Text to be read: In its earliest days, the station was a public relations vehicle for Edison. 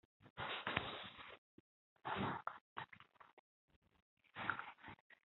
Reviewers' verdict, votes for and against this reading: rejected, 0, 2